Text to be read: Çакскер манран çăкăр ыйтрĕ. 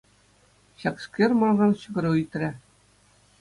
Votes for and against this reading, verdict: 2, 0, accepted